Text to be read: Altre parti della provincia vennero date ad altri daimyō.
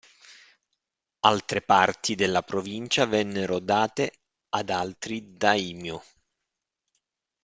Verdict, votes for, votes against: accepted, 2, 0